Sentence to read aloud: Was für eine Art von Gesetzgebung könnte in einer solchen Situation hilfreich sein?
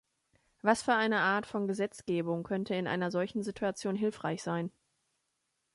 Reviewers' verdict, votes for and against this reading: accepted, 2, 0